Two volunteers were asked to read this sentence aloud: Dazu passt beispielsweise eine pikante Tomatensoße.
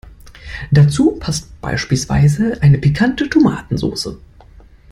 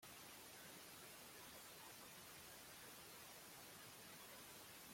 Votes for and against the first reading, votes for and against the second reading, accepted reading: 2, 0, 0, 2, first